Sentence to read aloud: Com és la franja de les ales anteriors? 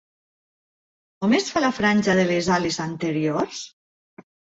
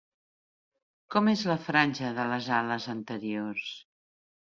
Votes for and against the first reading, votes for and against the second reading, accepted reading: 0, 2, 2, 0, second